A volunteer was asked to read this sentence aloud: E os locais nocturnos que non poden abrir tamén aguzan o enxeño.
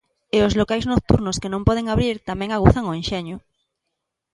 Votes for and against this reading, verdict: 2, 0, accepted